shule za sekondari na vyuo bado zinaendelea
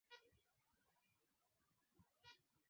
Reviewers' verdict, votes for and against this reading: rejected, 0, 2